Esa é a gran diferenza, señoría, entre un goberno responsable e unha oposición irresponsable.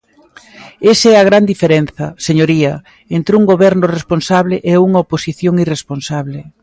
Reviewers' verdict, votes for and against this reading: accepted, 2, 0